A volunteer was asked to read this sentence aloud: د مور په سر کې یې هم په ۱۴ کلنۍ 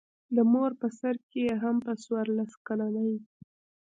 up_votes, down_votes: 0, 2